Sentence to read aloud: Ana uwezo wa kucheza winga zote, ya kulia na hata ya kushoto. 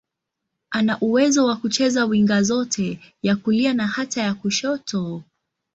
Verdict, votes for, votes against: accepted, 2, 0